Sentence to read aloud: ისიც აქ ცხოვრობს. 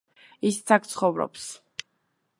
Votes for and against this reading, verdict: 2, 0, accepted